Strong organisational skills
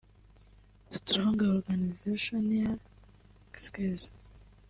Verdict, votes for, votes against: rejected, 0, 2